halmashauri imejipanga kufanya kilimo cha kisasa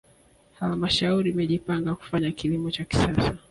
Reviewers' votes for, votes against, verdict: 3, 1, accepted